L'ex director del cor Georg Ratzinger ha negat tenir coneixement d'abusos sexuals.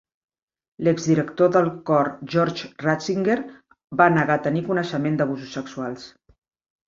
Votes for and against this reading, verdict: 1, 3, rejected